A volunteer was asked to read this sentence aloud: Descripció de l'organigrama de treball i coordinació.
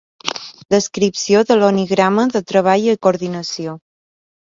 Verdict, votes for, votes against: rejected, 2, 3